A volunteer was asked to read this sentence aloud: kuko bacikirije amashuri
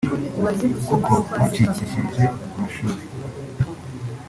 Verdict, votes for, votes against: rejected, 0, 2